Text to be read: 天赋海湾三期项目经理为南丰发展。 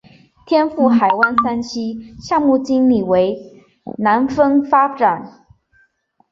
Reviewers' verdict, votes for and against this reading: accepted, 3, 0